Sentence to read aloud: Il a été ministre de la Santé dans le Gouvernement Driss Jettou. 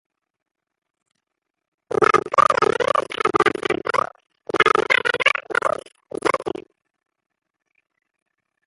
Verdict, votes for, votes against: rejected, 0, 2